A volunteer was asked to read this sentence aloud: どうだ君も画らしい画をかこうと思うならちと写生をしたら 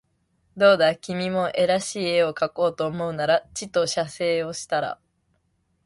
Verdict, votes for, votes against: accepted, 2, 0